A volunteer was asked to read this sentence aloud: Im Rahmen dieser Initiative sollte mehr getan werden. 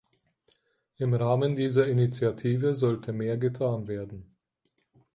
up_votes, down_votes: 4, 0